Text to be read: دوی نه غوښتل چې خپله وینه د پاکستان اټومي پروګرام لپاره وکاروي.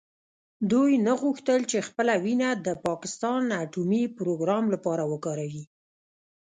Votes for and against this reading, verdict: 1, 2, rejected